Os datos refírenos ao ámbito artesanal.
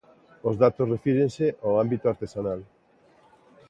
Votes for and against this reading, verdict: 0, 2, rejected